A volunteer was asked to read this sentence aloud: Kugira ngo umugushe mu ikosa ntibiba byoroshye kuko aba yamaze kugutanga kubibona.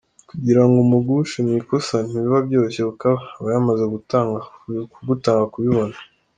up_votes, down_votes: 1, 2